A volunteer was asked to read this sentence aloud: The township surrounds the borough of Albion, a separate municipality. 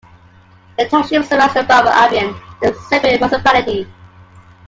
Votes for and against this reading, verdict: 1, 2, rejected